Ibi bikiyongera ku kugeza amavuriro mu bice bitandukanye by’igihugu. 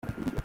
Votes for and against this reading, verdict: 0, 2, rejected